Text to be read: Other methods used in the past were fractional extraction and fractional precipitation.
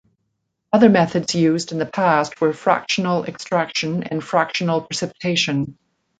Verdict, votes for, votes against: accepted, 2, 0